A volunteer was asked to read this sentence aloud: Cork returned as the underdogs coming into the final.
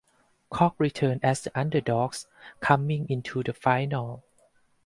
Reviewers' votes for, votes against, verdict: 4, 2, accepted